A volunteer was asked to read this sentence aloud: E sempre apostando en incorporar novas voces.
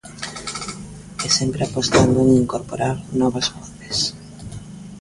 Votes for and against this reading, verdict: 2, 1, accepted